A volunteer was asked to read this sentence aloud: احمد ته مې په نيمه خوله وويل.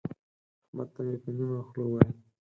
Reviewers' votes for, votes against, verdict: 2, 4, rejected